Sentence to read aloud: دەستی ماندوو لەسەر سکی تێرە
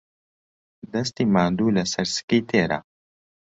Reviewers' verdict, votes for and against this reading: accepted, 3, 0